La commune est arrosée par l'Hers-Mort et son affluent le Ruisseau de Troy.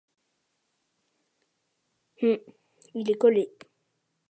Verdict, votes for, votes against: rejected, 1, 2